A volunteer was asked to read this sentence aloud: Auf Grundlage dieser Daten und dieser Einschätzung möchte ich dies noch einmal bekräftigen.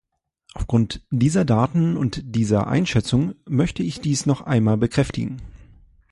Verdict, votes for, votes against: rejected, 0, 2